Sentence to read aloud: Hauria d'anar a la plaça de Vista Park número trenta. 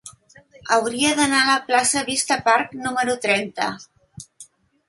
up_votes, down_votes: 2, 0